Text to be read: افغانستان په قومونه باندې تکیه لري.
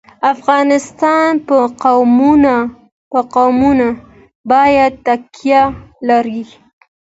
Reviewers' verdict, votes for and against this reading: accepted, 2, 0